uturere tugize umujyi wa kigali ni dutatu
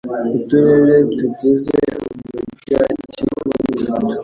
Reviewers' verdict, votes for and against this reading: accepted, 2, 0